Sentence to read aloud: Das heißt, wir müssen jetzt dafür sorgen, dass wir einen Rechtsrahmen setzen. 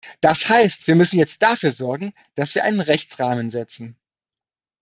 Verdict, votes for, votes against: accepted, 2, 0